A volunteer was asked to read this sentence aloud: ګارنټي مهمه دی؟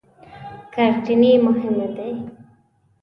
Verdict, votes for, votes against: rejected, 0, 2